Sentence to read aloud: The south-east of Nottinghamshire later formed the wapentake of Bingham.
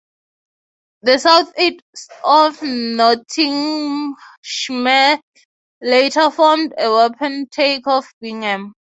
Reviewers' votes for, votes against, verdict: 0, 3, rejected